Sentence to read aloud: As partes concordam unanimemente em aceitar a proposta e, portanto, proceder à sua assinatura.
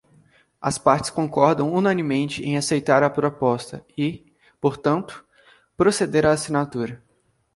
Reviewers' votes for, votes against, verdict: 1, 2, rejected